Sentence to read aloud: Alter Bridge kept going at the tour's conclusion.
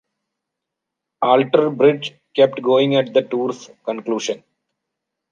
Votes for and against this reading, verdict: 2, 1, accepted